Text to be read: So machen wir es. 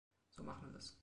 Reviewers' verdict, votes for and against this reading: accepted, 2, 1